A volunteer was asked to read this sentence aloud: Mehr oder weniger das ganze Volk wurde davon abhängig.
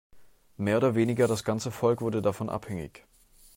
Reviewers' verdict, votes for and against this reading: accepted, 2, 0